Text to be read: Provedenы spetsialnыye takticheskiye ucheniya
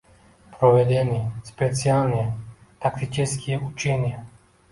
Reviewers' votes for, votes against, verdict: 1, 2, rejected